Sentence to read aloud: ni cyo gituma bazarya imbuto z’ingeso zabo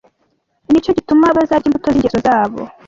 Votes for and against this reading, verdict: 2, 0, accepted